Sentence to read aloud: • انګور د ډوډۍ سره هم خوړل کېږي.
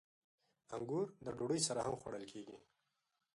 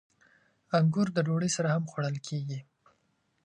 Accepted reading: second